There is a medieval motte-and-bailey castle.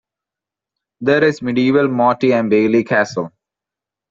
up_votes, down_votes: 0, 2